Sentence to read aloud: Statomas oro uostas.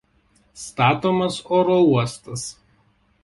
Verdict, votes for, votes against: accepted, 2, 0